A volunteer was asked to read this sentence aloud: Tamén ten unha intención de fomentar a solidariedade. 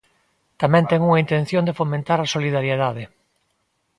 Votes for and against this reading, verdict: 2, 0, accepted